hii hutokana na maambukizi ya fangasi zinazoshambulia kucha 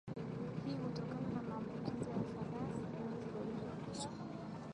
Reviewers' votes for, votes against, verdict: 2, 0, accepted